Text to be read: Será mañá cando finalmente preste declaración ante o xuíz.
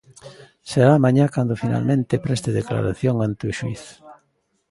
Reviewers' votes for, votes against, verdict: 0, 2, rejected